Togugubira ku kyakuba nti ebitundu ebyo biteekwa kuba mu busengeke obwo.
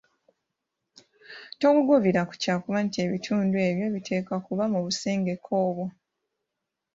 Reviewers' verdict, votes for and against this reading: accepted, 2, 0